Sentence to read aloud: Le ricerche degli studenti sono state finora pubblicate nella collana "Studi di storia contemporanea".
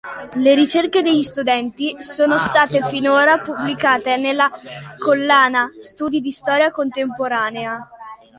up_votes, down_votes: 2, 0